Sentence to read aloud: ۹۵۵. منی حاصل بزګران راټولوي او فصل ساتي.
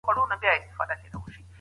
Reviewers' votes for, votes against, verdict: 0, 2, rejected